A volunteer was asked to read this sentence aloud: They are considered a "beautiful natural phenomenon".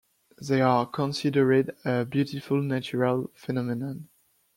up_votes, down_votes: 0, 2